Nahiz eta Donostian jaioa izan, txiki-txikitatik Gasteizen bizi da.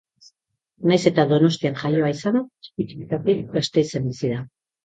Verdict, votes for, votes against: accepted, 2, 1